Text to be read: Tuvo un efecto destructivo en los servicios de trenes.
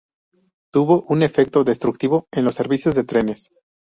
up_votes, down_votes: 2, 0